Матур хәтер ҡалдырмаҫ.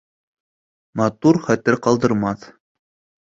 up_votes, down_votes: 2, 0